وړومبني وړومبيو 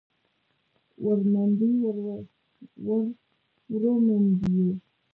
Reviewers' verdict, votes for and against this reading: rejected, 0, 2